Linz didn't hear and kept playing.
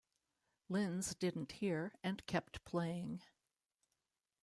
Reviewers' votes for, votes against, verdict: 2, 0, accepted